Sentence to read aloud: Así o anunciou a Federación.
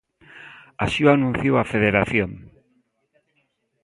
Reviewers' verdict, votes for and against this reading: accepted, 2, 0